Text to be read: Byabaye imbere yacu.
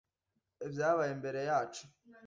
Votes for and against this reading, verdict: 2, 0, accepted